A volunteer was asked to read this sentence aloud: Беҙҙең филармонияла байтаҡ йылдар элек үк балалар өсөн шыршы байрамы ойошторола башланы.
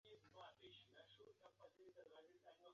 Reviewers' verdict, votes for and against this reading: rejected, 0, 2